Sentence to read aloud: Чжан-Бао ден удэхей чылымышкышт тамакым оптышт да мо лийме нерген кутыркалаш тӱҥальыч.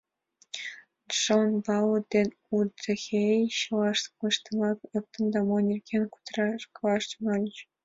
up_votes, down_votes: 1, 2